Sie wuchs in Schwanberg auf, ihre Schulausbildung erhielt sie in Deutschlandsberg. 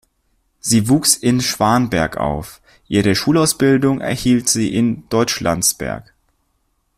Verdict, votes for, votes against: accepted, 2, 0